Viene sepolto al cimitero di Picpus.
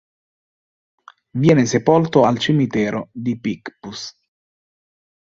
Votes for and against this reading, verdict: 2, 0, accepted